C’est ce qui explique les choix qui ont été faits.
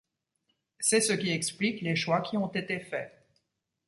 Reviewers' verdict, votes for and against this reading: accepted, 2, 0